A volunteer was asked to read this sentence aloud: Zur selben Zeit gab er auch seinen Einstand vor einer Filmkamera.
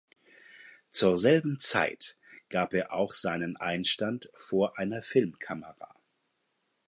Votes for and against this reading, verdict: 4, 0, accepted